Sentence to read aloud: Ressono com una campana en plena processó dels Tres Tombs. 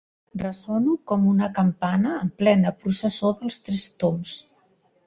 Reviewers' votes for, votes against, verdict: 2, 0, accepted